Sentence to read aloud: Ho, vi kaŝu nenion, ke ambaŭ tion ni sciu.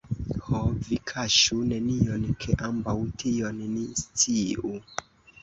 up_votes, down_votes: 0, 2